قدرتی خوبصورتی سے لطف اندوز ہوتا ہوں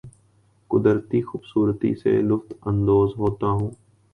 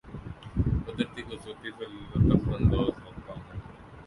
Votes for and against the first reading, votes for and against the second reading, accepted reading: 2, 0, 0, 2, first